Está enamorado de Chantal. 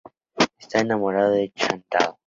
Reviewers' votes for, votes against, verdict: 4, 0, accepted